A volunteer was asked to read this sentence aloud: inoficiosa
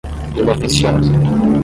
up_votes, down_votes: 5, 5